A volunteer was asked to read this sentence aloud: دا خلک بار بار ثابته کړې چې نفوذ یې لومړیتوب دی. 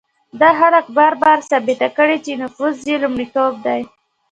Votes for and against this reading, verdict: 2, 0, accepted